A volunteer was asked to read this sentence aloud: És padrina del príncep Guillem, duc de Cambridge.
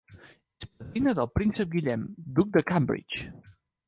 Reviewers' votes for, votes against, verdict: 0, 2, rejected